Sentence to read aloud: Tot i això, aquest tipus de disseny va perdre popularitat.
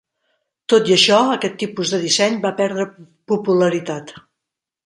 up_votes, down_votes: 4, 0